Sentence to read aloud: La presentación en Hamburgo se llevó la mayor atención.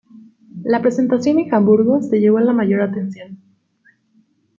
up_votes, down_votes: 1, 2